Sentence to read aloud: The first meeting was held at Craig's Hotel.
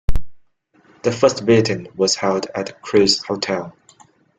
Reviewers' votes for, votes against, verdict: 2, 0, accepted